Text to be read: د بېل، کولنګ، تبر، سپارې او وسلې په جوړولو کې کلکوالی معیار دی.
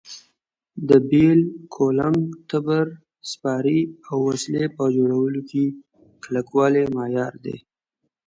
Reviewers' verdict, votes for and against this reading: accepted, 2, 0